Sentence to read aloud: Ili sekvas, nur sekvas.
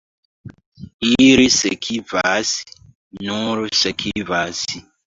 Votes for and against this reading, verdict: 0, 2, rejected